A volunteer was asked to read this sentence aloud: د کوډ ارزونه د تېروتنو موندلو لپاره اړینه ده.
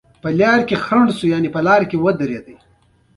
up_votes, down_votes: 1, 2